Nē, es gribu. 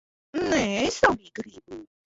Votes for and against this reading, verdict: 0, 2, rejected